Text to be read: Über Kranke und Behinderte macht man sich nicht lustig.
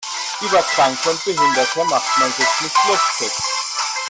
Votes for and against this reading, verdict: 1, 2, rejected